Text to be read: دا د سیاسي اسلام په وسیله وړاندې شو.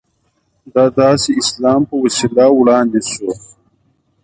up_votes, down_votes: 0, 2